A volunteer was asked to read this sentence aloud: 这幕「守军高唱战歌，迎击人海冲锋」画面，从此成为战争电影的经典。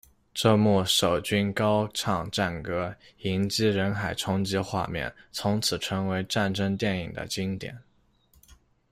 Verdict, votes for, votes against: rejected, 0, 2